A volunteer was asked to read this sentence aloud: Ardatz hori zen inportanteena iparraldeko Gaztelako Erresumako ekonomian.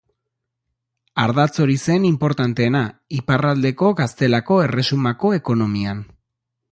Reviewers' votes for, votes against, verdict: 2, 0, accepted